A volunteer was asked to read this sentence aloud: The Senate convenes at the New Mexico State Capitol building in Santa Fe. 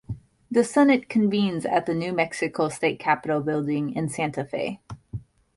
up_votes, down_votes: 2, 0